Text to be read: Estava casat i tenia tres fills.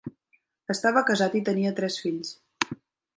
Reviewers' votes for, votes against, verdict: 3, 0, accepted